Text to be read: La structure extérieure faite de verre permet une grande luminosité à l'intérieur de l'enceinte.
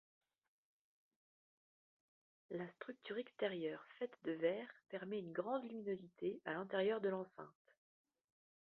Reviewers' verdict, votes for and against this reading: accepted, 3, 2